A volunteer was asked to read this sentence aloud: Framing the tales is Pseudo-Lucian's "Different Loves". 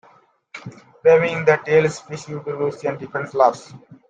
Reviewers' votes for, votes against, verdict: 0, 2, rejected